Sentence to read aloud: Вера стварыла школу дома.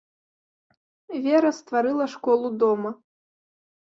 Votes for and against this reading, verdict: 3, 0, accepted